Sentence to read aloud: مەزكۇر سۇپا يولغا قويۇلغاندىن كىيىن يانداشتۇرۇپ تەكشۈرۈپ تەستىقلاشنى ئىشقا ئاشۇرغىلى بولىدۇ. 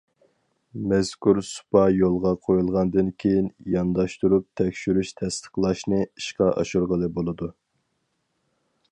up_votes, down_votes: 2, 4